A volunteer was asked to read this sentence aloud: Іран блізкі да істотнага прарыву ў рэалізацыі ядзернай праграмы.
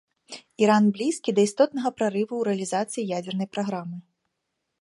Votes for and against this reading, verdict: 2, 0, accepted